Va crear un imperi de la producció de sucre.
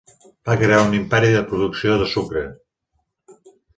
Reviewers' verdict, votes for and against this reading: rejected, 1, 2